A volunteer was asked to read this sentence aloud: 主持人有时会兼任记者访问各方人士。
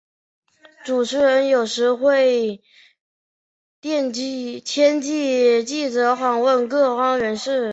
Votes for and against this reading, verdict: 1, 6, rejected